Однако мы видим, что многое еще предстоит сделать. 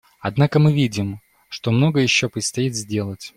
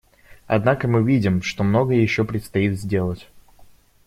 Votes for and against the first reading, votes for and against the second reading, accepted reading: 2, 0, 1, 2, first